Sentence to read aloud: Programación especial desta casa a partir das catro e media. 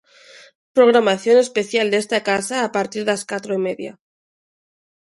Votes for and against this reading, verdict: 2, 0, accepted